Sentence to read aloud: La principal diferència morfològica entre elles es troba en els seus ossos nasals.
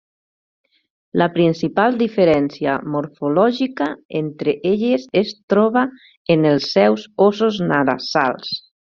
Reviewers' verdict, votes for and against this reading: rejected, 0, 2